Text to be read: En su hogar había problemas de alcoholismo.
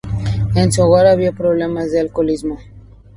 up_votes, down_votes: 4, 0